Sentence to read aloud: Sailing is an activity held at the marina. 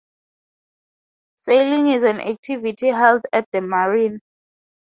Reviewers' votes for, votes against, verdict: 2, 2, rejected